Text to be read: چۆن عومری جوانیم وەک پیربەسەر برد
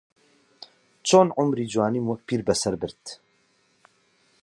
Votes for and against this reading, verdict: 6, 0, accepted